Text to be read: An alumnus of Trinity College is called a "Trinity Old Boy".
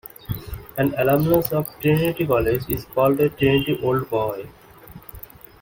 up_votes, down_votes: 2, 0